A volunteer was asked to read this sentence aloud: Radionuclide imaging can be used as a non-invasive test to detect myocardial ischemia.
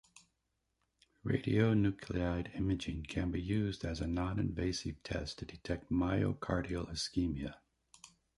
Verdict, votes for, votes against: rejected, 0, 2